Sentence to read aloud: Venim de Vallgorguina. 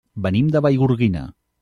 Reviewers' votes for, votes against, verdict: 2, 0, accepted